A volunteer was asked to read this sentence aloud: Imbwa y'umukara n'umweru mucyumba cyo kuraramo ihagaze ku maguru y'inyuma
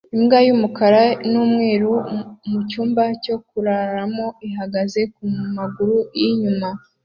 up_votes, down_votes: 2, 0